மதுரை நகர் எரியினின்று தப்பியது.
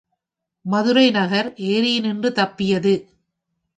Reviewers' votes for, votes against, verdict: 2, 0, accepted